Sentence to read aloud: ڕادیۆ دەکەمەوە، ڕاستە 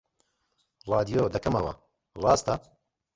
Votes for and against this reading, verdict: 2, 1, accepted